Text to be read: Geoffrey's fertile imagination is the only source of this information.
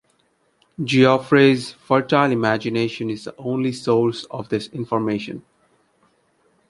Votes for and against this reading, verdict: 2, 0, accepted